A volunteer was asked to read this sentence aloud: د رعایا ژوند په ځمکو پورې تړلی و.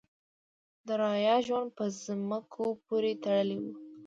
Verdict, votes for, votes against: rejected, 1, 2